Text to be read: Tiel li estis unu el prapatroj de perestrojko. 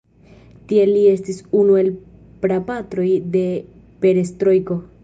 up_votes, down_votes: 0, 2